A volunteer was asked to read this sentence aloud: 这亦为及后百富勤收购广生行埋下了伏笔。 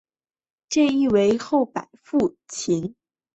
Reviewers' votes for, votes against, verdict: 1, 2, rejected